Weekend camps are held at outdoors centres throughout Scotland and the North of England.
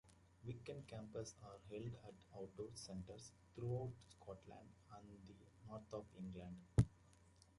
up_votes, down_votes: 0, 2